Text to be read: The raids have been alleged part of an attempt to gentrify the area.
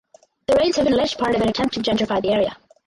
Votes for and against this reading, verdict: 0, 2, rejected